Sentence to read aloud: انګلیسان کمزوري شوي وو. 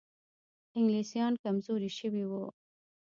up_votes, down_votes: 0, 2